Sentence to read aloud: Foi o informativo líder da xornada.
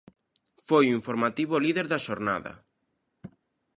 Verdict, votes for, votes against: accepted, 2, 0